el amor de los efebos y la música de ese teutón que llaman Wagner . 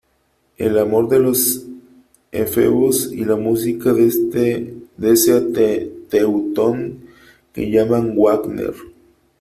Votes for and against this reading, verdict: 0, 3, rejected